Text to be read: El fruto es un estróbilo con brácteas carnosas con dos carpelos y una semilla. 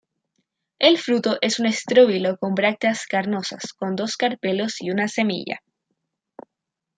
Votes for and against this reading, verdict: 2, 0, accepted